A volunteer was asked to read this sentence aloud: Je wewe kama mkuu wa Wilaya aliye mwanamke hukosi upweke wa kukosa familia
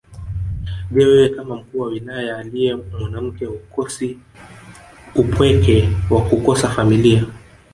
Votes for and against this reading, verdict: 1, 2, rejected